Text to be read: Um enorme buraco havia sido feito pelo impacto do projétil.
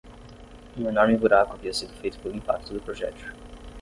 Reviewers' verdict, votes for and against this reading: rejected, 0, 5